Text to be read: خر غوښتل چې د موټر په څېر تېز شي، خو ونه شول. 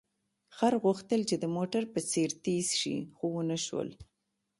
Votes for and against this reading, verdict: 2, 0, accepted